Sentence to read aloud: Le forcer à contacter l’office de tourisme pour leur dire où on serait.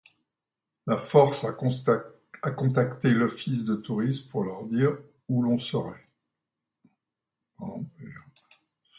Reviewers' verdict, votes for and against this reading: rejected, 1, 2